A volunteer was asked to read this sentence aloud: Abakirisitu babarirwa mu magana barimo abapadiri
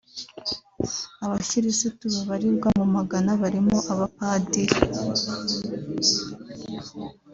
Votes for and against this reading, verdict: 2, 0, accepted